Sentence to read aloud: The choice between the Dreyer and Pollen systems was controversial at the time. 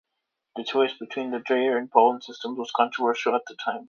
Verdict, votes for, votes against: accepted, 2, 1